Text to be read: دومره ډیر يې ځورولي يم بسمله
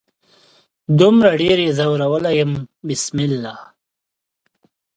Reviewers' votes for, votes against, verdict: 2, 0, accepted